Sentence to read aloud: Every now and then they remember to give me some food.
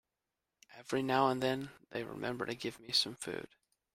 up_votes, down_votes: 2, 0